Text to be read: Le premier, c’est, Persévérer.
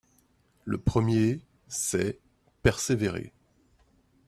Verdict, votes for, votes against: accepted, 2, 0